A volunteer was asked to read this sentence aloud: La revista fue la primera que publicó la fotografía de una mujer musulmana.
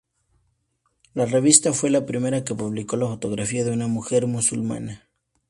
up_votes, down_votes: 2, 0